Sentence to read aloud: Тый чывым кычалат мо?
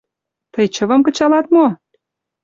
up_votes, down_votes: 2, 0